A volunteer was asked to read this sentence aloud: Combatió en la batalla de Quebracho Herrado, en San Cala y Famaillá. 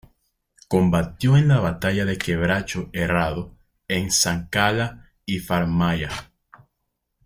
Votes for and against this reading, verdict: 1, 2, rejected